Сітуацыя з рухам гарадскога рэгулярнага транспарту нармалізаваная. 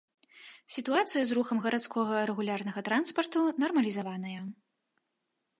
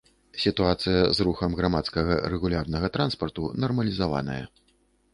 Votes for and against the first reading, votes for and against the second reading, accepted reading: 2, 0, 0, 2, first